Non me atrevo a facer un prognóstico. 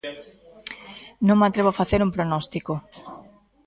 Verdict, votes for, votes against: rejected, 1, 2